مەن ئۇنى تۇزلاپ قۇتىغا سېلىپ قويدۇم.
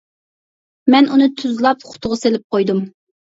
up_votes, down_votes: 2, 0